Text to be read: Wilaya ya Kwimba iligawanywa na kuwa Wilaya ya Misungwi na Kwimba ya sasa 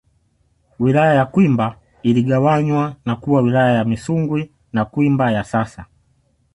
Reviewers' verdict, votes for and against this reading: accepted, 2, 0